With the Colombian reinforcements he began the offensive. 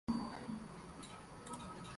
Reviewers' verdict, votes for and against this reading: rejected, 0, 2